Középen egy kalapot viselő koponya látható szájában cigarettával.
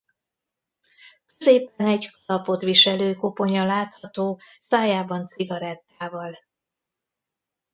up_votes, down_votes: 0, 2